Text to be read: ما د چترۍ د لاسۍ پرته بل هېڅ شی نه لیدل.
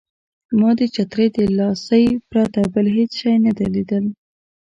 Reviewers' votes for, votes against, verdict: 3, 1, accepted